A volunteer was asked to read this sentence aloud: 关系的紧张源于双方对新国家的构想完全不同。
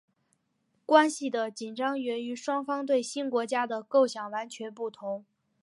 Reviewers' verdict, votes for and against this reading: accepted, 3, 0